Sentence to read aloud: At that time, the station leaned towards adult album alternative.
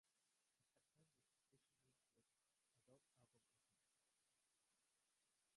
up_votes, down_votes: 0, 2